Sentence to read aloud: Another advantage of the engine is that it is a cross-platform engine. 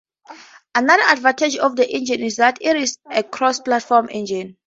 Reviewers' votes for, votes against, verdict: 2, 0, accepted